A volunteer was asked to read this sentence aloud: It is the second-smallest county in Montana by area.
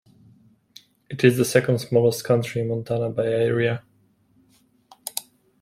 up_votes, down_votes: 2, 1